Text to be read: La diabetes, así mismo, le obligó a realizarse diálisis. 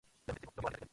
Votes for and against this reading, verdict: 0, 4, rejected